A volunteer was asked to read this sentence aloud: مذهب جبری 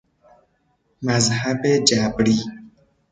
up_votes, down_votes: 2, 0